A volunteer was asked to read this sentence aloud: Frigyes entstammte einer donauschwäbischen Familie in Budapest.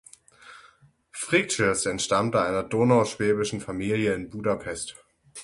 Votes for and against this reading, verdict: 6, 0, accepted